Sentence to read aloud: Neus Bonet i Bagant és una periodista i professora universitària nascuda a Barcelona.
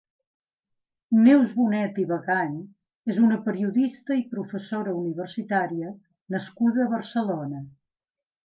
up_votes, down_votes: 2, 0